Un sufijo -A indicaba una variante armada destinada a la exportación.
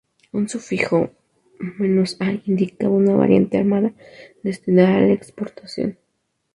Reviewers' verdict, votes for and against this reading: rejected, 0, 2